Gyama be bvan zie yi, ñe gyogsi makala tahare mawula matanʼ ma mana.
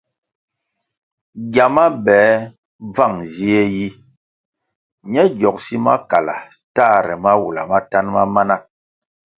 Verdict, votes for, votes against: accepted, 2, 0